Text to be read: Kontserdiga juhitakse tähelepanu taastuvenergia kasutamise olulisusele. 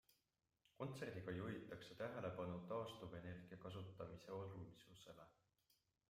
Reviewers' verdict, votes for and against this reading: accepted, 2, 1